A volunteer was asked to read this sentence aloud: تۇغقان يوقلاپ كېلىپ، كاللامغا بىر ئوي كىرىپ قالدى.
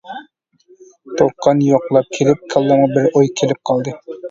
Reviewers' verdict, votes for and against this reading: rejected, 0, 2